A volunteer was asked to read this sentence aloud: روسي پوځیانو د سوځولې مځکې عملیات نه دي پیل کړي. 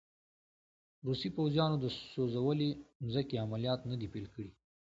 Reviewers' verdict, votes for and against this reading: accepted, 2, 0